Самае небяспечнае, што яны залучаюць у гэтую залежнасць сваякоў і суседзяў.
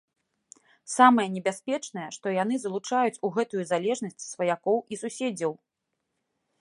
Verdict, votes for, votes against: accepted, 2, 0